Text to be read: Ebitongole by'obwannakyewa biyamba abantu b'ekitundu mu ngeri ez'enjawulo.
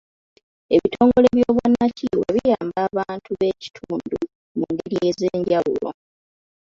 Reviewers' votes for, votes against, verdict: 0, 3, rejected